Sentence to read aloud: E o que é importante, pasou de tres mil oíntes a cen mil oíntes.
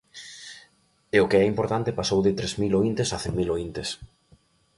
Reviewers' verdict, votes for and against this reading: accepted, 2, 0